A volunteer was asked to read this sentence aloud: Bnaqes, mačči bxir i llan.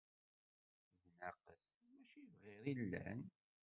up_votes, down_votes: 1, 2